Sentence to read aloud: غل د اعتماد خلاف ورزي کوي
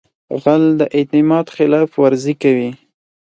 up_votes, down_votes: 4, 0